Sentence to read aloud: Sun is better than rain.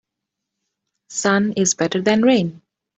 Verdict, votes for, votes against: accepted, 2, 0